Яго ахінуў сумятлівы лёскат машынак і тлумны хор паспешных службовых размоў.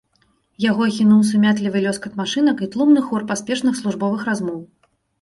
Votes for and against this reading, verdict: 2, 0, accepted